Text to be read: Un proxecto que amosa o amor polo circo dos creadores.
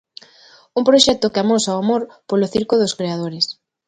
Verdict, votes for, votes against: accepted, 2, 0